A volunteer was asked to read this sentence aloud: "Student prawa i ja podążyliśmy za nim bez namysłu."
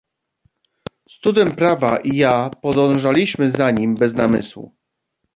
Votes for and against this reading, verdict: 1, 2, rejected